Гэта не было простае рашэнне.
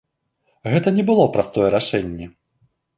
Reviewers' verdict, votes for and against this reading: accepted, 2, 1